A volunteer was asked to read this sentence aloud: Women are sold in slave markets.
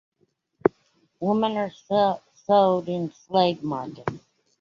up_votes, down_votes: 0, 2